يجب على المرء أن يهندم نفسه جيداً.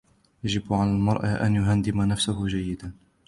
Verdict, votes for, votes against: accepted, 2, 0